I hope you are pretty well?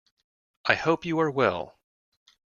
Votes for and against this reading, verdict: 0, 2, rejected